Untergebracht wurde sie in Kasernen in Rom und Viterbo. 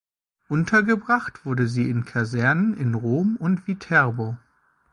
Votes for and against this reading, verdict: 2, 0, accepted